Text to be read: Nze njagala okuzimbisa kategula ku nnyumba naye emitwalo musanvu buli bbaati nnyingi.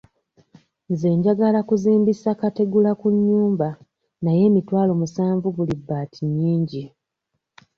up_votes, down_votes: 2, 1